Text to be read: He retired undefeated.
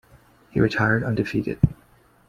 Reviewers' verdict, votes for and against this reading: accepted, 2, 0